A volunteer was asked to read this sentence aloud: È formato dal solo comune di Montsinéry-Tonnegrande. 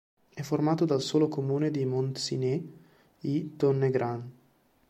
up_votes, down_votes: 0, 2